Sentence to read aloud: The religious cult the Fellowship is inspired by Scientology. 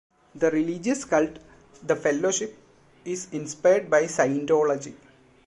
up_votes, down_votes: 2, 0